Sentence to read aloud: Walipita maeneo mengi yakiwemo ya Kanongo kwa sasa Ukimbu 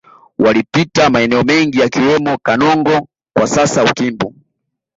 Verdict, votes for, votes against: rejected, 0, 2